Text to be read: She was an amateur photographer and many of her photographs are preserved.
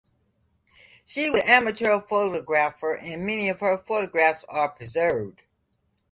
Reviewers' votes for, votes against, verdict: 0, 2, rejected